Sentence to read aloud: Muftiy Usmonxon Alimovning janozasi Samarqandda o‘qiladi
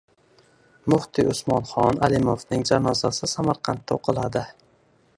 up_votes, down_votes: 1, 2